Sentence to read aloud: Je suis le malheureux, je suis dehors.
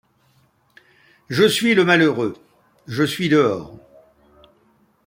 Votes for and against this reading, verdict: 2, 0, accepted